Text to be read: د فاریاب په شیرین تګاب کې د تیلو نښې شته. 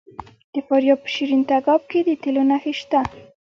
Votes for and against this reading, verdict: 1, 2, rejected